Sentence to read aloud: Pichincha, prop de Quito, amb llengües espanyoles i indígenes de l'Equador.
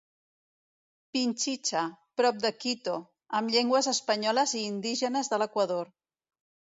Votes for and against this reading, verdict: 1, 2, rejected